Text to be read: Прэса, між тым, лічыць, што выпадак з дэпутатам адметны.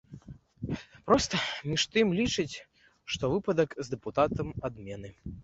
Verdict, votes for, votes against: rejected, 0, 2